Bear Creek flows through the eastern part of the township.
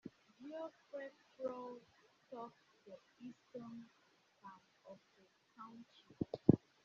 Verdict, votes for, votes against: rejected, 0, 2